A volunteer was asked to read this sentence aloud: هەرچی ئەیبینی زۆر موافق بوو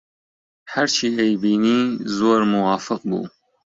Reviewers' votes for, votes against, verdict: 2, 1, accepted